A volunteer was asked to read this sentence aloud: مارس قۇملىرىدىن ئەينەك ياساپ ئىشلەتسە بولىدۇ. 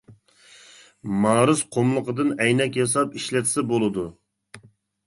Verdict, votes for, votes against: rejected, 0, 2